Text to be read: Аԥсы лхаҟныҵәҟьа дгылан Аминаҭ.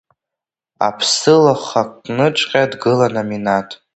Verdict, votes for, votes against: rejected, 1, 2